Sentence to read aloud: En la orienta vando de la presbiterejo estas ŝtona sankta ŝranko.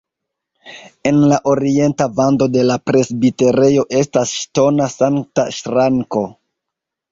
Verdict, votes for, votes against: accepted, 2, 1